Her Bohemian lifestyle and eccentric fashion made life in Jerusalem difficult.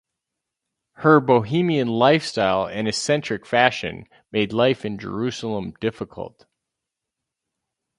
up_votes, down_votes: 4, 0